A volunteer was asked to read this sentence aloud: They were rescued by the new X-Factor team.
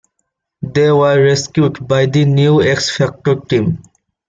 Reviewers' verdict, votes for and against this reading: accepted, 2, 0